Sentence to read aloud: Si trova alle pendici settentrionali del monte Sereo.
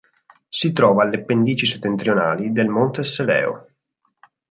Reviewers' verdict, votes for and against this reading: accepted, 6, 0